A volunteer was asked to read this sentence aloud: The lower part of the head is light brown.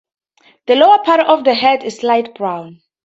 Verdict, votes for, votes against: accepted, 2, 0